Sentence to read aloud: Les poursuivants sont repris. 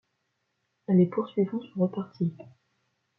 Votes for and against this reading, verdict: 1, 2, rejected